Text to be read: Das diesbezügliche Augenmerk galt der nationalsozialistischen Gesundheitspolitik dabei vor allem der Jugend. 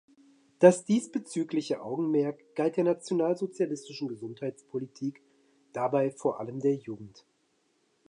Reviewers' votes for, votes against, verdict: 2, 0, accepted